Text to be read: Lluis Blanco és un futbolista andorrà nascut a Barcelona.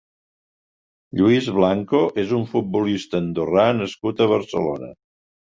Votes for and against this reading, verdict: 3, 0, accepted